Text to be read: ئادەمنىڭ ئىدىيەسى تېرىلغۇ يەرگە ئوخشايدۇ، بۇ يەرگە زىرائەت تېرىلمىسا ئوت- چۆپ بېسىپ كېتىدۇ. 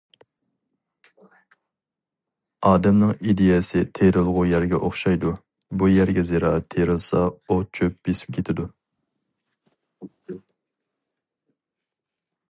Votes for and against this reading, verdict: 0, 2, rejected